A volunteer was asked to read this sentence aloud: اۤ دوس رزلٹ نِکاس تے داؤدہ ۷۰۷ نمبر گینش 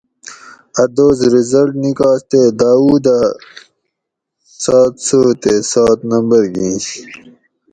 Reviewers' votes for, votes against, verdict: 0, 2, rejected